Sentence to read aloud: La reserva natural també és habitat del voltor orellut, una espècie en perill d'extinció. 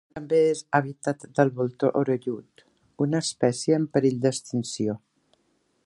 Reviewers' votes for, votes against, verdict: 0, 2, rejected